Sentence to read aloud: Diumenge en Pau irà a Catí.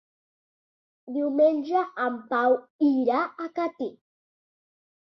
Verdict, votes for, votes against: accepted, 2, 0